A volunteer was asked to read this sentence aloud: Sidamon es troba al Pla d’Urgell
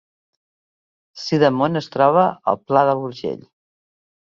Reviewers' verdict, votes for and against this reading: rejected, 1, 2